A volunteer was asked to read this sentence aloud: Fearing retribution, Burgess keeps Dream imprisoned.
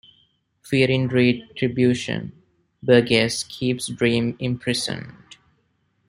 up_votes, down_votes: 0, 2